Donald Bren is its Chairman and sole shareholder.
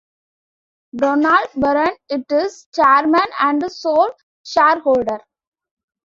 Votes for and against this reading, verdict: 1, 2, rejected